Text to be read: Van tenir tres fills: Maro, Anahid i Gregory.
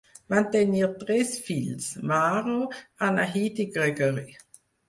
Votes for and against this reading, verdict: 2, 4, rejected